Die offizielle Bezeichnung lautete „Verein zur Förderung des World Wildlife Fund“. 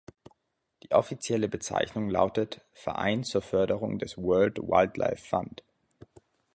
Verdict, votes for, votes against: rejected, 1, 3